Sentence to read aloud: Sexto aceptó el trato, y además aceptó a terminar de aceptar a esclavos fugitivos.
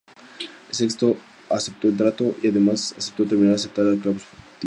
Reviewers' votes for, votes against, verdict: 0, 2, rejected